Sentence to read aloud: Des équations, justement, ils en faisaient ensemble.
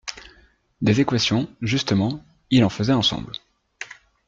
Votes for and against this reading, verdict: 0, 2, rejected